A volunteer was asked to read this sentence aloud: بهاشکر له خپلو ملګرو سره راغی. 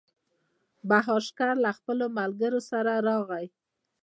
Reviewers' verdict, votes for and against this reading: rejected, 1, 2